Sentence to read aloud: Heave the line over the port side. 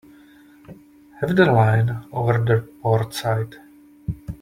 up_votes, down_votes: 2, 1